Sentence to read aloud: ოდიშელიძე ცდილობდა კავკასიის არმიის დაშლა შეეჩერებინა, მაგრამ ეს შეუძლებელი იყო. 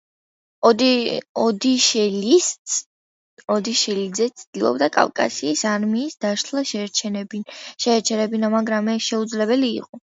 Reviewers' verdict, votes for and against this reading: rejected, 0, 2